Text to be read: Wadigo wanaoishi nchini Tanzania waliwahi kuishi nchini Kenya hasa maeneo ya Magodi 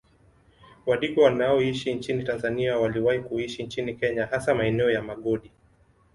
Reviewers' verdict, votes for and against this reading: accepted, 2, 0